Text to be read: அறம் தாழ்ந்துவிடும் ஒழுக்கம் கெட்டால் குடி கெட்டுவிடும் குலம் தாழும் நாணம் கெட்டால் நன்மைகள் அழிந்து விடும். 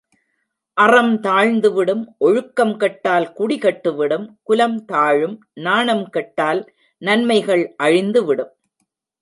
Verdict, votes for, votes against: accepted, 2, 0